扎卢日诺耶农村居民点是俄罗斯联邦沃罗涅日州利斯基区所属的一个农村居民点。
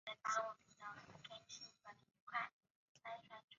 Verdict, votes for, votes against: rejected, 2, 3